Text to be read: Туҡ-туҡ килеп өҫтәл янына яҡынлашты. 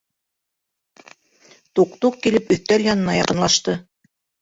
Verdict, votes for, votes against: rejected, 1, 2